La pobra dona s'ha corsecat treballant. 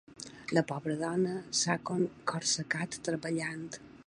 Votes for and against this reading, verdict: 1, 2, rejected